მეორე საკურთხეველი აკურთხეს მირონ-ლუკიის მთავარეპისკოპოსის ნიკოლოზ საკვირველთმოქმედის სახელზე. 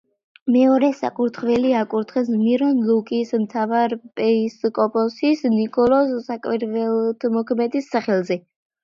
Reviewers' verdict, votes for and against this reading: rejected, 1, 2